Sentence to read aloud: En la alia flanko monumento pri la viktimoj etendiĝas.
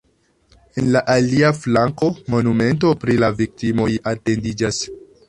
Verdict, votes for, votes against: rejected, 0, 2